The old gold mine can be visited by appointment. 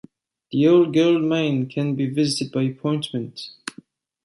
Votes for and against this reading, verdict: 2, 1, accepted